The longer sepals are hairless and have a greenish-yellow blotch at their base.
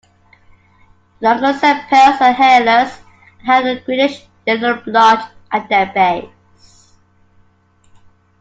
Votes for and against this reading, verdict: 2, 1, accepted